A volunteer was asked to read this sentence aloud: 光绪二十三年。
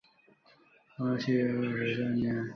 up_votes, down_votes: 0, 3